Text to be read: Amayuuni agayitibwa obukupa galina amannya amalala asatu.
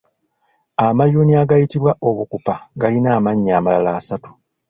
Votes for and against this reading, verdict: 3, 1, accepted